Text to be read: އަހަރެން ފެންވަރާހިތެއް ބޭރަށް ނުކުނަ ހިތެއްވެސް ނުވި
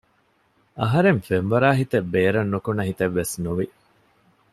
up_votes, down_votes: 2, 0